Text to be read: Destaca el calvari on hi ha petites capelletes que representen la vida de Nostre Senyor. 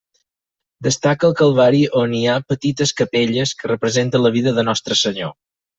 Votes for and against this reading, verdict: 0, 4, rejected